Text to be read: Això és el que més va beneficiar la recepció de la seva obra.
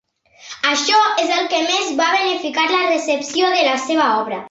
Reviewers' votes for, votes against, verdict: 0, 2, rejected